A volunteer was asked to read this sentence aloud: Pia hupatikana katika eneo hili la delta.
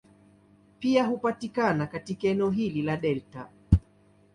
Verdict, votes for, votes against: accepted, 2, 0